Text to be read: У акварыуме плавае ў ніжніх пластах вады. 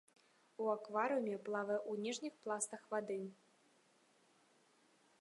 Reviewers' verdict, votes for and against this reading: rejected, 0, 2